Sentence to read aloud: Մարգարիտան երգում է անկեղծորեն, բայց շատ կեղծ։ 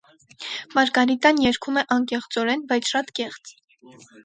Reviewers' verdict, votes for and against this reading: rejected, 2, 2